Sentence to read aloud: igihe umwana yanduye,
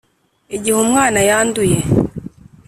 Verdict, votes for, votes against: accepted, 3, 0